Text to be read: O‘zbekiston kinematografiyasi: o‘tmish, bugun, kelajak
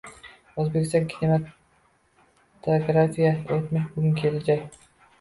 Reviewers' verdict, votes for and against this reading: rejected, 0, 2